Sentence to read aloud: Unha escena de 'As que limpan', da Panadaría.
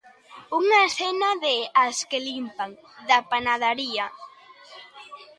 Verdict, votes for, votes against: rejected, 0, 2